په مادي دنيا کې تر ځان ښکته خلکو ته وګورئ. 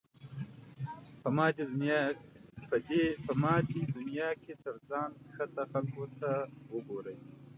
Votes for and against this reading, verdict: 0, 3, rejected